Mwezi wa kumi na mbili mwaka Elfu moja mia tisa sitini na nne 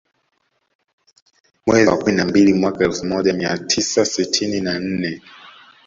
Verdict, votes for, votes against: rejected, 1, 2